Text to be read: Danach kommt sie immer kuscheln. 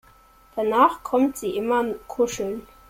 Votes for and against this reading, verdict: 2, 3, rejected